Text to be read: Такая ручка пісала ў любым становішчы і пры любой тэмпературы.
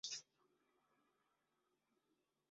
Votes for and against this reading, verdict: 0, 2, rejected